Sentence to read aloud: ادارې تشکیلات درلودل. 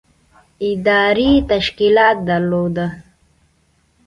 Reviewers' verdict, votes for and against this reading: accepted, 2, 0